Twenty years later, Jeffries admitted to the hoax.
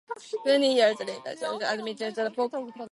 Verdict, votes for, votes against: rejected, 0, 2